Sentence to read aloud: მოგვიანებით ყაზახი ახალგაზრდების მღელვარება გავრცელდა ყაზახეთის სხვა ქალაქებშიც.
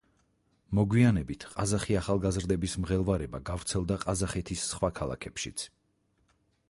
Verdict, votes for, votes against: rejected, 2, 4